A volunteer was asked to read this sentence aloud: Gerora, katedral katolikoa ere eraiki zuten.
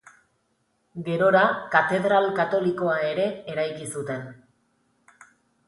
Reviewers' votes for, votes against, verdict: 3, 0, accepted